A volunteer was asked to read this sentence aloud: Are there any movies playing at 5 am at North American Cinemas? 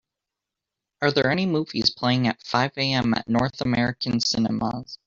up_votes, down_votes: 0, 2